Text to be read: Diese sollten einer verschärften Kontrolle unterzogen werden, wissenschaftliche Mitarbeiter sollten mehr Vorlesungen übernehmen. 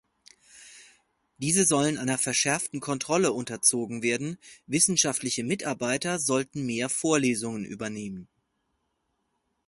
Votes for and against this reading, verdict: 0, 4, rejected